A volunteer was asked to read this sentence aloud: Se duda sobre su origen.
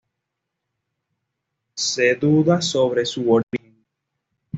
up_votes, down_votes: 0, 2